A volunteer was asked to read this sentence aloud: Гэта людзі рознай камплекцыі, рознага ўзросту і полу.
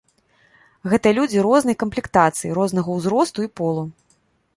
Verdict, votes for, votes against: rejected, 1, 2